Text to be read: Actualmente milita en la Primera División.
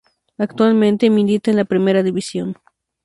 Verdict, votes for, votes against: accepted, 2, 0